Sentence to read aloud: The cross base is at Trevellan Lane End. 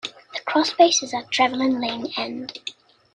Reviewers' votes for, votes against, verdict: 2, 0, accepted